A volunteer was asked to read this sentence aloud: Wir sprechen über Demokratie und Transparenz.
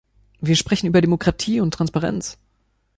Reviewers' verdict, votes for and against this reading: accepted, 2, 1